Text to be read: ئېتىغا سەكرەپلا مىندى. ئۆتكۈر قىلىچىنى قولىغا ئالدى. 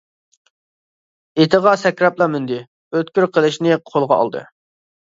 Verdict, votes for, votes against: rejected, 1, 2